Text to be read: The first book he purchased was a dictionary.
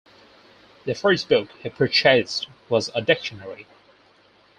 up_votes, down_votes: 4, 0